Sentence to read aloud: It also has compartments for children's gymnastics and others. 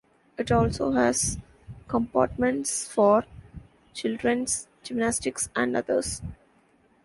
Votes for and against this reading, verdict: 2, 0, accepted